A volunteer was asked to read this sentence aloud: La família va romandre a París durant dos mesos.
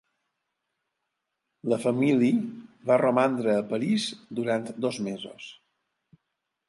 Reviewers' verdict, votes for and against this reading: rejected, 0, 2